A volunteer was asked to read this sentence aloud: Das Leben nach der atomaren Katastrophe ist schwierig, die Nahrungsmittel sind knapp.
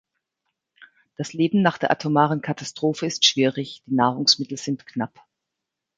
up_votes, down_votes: 1, 2